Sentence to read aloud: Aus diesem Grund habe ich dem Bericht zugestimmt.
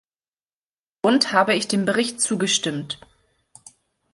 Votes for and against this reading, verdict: 0, 2, rejected